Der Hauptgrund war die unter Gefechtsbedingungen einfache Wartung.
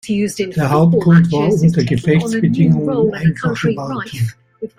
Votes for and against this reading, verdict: 1, 2, rejected